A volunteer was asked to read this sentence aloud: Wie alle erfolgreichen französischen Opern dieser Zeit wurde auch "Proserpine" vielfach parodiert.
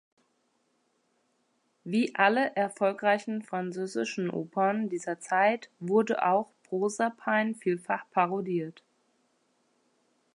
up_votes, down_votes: 1, 2